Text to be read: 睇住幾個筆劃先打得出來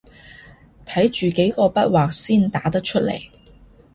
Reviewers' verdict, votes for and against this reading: accepted, 2, 0